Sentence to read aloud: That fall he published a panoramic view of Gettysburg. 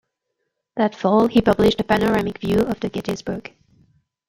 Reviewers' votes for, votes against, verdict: 0, 2, rejected